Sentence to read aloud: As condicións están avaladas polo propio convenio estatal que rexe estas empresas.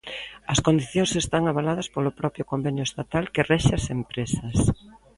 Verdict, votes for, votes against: rejected, 0, 2